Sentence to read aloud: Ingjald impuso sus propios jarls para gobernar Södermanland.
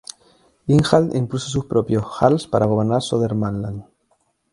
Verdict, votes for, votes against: accepted, 2, 0